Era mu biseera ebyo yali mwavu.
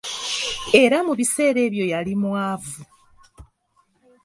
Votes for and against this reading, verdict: 2, 0, accepted